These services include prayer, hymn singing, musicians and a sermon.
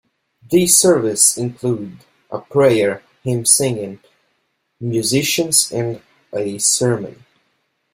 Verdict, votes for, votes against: rejected, 0, 2